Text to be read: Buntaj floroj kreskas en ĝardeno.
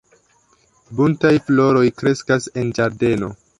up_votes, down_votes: 2, 0